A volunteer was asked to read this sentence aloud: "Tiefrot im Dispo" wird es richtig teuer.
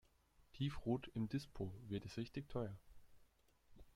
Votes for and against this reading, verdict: 2, 0, accepted